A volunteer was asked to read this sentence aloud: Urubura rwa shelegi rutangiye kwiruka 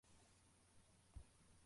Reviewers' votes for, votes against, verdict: 0, 2, rejected